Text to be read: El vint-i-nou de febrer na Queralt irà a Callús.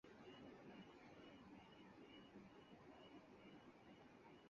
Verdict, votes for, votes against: rejected, 0, 4